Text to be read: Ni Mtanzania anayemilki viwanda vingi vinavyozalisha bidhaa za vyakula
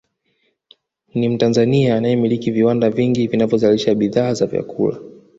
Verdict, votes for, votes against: rejected, 1, 2